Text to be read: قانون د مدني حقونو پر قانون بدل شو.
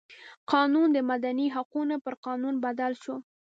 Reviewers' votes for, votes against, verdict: 2, 0, accepted